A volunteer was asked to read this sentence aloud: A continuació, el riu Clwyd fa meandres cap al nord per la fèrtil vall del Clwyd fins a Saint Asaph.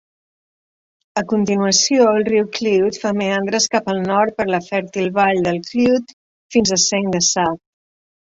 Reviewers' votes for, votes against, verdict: 1, 2, rejected